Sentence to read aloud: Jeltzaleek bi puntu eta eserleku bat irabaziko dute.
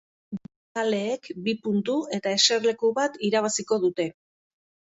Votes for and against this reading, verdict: 2, 3, rejected